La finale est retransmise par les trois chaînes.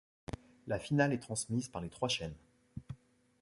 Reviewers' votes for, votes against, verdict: 1, 2, rejected